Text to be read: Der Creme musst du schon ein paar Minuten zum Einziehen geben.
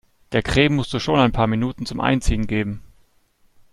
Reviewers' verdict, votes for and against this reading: accepted, 2, 0